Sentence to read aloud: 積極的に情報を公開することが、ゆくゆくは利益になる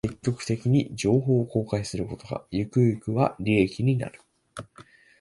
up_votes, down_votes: 2, 0